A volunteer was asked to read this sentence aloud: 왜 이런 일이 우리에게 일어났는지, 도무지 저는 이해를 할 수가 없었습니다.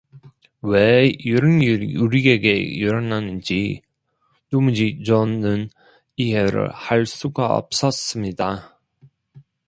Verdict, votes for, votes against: rejected, 1, 2